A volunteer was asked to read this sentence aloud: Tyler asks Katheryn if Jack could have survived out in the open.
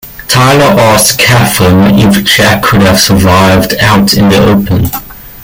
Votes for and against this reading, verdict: 0, 2, rejected